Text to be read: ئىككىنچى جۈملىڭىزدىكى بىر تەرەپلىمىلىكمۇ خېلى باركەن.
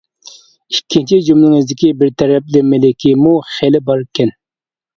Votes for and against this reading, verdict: 2, 1, accepted